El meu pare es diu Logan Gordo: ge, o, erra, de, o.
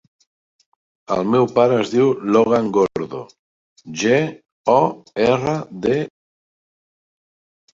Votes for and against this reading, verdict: 0, 2, rejected